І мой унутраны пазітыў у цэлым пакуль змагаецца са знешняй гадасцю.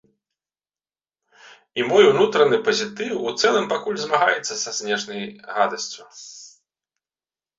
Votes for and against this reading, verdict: 2, 0, accepted